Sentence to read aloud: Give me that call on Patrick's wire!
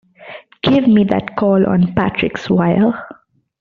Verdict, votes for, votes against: rejected, 0, 2